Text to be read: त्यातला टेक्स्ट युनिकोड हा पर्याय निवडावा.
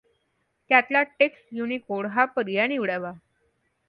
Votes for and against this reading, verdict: 2, 0, accepted